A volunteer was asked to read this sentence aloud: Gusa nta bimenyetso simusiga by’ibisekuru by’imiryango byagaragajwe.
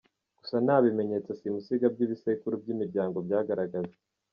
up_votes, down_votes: 3, 0